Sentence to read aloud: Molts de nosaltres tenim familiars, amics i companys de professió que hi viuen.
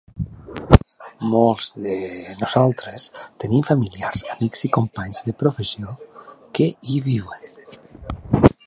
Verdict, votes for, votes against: accepted, 2, 1